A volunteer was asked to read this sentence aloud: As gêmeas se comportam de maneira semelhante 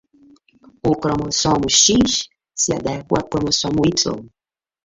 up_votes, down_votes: 0, 2